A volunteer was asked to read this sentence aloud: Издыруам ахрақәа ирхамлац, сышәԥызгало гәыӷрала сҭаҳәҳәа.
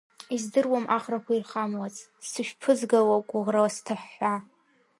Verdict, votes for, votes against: rejected, 0, 2